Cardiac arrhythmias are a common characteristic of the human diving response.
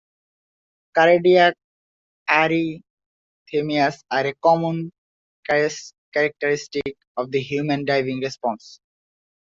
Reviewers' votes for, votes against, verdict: 0, 2, rejected